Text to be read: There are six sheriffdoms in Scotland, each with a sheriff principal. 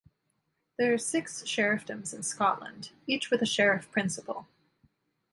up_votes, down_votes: 1, 2